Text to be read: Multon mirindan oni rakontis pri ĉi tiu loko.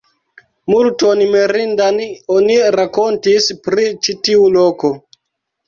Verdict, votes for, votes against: rejected, 1, 2